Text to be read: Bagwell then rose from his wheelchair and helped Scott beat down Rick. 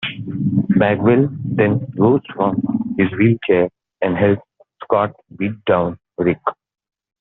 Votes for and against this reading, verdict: 1, 2, rejected